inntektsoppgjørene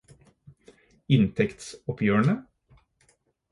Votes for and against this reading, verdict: 4, 0, accepted